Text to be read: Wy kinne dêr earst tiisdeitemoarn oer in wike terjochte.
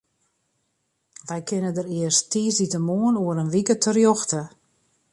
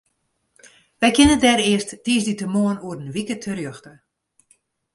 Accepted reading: second